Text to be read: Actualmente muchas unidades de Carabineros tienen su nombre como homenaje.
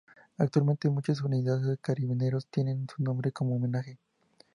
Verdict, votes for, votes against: accepted, 2, 0